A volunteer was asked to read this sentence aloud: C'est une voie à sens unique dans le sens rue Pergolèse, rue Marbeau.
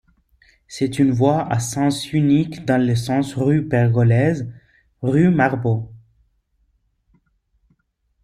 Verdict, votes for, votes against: accepted, 2, 1